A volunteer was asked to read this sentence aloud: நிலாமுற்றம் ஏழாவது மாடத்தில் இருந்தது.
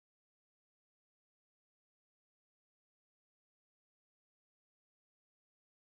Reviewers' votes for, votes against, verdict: 0, 3, rejected